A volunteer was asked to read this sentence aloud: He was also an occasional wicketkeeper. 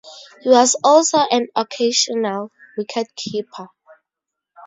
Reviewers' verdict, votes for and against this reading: accepted, 4, 0